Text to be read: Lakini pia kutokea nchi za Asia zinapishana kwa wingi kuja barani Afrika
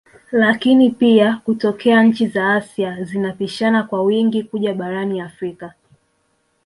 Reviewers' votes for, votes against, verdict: 4, 0, accepted